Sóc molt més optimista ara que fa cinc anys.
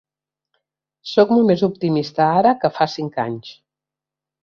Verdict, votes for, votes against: accepted, 3, 0